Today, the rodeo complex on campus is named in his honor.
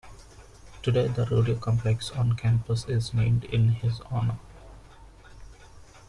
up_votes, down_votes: 2, 0